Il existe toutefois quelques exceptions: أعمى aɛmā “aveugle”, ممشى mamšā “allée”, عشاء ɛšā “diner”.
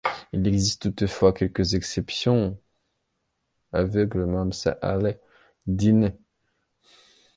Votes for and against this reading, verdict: 0, 2, rejected